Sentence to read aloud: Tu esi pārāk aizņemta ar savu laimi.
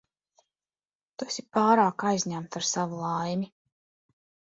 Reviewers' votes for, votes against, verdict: 2, 0, accepted